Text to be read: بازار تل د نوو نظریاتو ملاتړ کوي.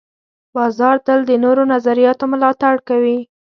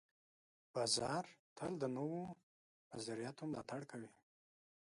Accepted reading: first